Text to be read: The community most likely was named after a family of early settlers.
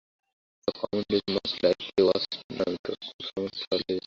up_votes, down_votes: 0, 2